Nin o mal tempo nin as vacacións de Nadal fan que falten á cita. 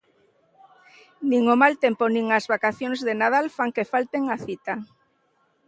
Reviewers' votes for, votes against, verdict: 2, 0, accepted